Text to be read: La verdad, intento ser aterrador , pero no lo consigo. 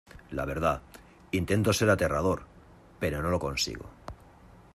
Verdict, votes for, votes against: accepted, 2, 0